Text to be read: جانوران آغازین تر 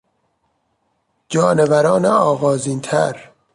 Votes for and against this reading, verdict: 3, 0, accepted